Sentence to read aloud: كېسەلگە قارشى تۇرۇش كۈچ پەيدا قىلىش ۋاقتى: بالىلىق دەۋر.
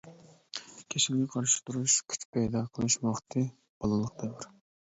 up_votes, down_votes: 0, 2